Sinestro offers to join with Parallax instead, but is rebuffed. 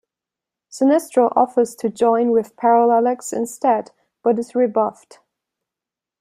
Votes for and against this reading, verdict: 1, 2, rejected